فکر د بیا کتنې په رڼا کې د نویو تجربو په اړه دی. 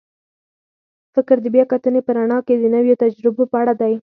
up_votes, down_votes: 4, 0